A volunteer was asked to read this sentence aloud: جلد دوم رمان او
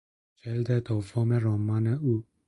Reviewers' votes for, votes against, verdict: 2, 0, accepted